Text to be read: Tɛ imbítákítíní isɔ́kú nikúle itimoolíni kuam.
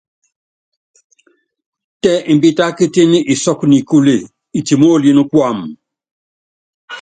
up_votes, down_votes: 2, 0